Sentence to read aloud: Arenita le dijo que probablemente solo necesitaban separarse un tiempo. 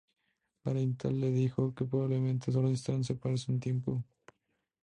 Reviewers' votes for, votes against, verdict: 2, 0, accepted